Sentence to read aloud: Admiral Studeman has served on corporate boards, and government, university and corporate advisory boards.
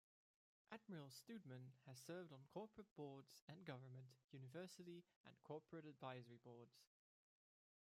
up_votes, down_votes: 1, 2